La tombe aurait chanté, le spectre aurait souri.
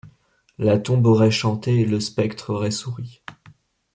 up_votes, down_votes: 2, 0